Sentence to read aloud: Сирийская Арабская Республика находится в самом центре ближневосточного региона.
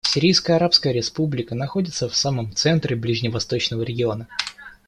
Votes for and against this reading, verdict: 2, 0, accepted